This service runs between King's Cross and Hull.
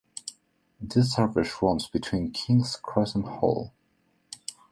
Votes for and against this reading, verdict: 2, 0, accepted